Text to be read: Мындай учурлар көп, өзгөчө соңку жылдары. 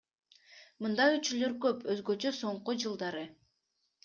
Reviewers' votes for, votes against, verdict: 0, 2, rejected